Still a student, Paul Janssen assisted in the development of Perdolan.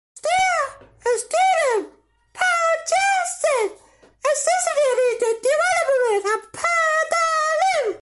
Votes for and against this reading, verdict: 0, 2, rejected